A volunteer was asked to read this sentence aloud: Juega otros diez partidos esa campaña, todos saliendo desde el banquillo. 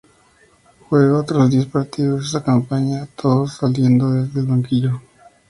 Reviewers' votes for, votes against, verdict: 2, 0, accepted